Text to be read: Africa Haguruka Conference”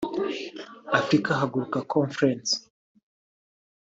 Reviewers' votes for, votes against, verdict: 1, 2, rejected